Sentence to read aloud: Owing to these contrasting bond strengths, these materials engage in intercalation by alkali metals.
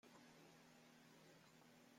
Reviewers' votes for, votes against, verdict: 0, 2, rejected